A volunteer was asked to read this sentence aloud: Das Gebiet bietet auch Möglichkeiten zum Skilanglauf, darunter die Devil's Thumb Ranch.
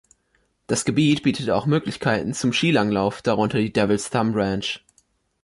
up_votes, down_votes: 1, 2